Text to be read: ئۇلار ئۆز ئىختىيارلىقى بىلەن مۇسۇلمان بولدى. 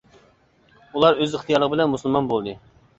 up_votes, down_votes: 2, 1